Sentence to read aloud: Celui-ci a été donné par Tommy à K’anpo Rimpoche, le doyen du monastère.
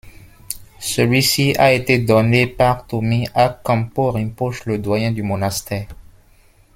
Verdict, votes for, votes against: accepted, 2, 0